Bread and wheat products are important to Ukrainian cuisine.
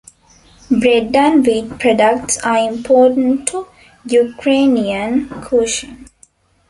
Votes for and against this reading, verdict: 1, 2, rejected